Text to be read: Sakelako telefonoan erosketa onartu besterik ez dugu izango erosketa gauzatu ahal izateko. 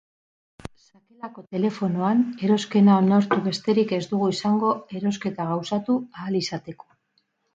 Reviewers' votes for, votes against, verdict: 0, 4, rejected